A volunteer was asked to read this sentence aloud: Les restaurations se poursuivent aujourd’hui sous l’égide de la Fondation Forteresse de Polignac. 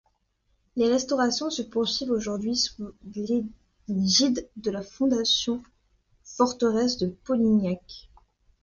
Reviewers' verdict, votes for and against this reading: accepted, 2, 0